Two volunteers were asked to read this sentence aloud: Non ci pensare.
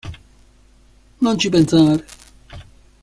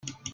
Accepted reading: first